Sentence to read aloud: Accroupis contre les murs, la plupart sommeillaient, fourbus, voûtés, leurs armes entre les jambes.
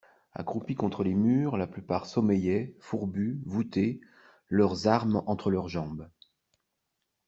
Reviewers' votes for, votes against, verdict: 0, 2, rejected